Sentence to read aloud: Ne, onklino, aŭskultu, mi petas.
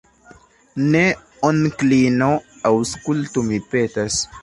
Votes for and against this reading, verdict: 2, 0, accepted